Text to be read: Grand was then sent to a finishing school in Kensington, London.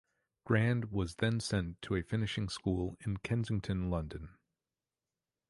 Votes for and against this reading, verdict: 2, 0, accepted